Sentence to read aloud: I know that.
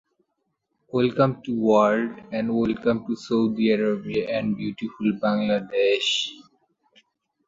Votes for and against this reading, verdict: 0, 2, rejected